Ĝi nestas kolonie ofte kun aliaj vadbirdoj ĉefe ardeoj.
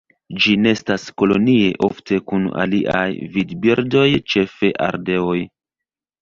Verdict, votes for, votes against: rejected, 0, 2